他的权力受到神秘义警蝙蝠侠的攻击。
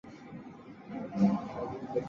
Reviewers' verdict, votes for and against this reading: rejected, 0, 3